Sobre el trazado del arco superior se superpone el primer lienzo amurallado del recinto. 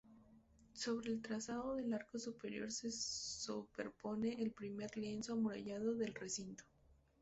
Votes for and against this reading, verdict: 2, 2, rejected